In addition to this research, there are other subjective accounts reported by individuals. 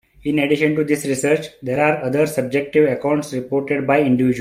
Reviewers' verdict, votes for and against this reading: rejected, 1, 4